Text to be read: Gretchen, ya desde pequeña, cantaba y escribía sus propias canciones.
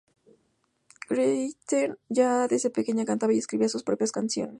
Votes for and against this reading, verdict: 0, 2, rejected